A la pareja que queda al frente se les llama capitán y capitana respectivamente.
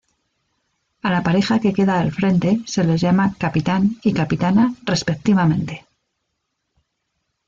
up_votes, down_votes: 2, 0